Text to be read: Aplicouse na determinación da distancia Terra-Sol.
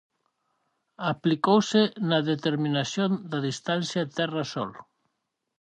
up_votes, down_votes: 4, 0